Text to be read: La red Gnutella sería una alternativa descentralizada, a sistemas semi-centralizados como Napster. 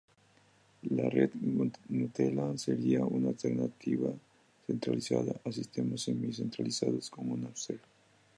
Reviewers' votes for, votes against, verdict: 0, 2, rejected